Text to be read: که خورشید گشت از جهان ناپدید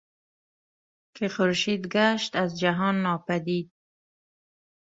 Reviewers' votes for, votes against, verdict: 0, 2, rejected